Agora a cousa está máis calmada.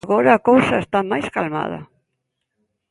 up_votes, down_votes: 2, 0